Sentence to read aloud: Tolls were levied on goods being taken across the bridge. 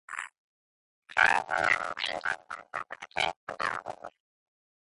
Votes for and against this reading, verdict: 0, 2, rejected